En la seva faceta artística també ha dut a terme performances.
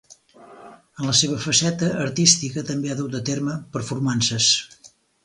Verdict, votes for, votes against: rejected, 2, 4